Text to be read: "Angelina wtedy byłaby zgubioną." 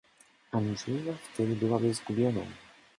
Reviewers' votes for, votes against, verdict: 1, 2, rejected